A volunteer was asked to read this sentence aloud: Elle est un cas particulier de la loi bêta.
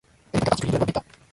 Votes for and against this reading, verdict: 0, 2, rejected